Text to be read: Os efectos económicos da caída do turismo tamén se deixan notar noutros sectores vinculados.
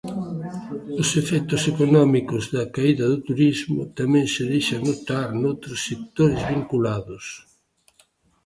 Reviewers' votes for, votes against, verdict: 0, 2, rejected